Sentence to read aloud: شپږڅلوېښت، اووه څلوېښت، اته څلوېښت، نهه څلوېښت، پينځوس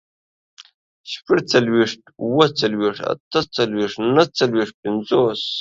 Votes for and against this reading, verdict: 2, 1, accepted